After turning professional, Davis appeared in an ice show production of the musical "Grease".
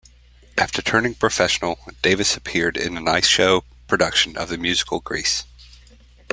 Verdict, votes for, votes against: accepted, 2, 0